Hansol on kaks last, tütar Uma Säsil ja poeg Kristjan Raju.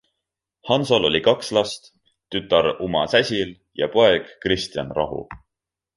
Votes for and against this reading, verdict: 0, 2, rejected